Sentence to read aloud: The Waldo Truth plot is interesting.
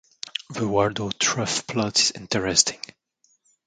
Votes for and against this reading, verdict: 2, 0, accepted